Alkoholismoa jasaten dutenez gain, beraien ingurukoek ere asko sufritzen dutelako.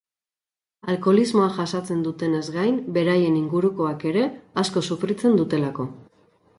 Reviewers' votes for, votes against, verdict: 4, 0, accepted